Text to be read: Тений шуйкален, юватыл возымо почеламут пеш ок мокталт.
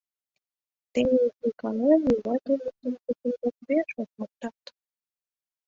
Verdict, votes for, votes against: rejected, 0, 2